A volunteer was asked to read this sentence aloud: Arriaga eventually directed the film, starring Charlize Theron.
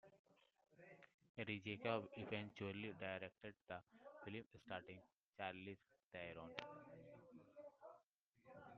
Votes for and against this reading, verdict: 0, 2, rejected